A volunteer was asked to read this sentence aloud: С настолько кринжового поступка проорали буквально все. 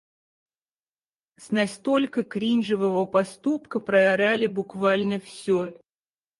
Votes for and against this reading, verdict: 2, 4, rejected